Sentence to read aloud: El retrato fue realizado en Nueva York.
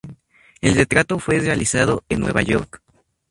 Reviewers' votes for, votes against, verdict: 0, 2, rejected